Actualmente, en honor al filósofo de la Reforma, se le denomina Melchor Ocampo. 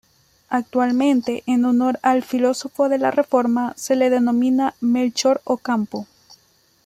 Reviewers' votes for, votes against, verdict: 2, 0, accepted